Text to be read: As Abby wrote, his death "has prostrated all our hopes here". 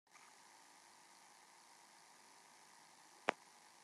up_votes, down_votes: 0, 2